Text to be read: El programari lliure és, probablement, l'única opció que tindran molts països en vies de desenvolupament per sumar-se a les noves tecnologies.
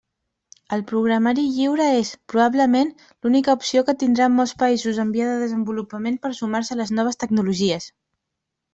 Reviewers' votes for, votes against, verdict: 1, 2, rejected